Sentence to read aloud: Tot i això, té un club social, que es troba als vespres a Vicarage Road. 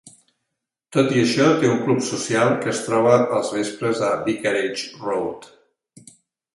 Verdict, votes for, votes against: accepted, 2, 1